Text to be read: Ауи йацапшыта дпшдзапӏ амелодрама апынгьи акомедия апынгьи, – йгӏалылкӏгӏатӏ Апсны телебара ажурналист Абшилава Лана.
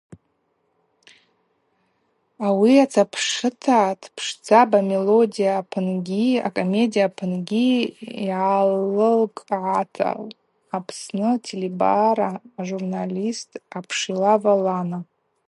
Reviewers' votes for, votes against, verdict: 0, 4, rejected